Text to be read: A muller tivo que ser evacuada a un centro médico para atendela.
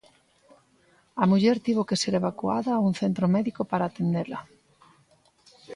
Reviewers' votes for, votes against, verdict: 2, 0, accepted